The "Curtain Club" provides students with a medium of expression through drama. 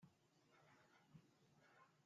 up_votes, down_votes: 0, 2